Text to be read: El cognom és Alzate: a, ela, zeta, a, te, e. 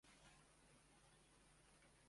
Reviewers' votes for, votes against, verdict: 0, 2, rejected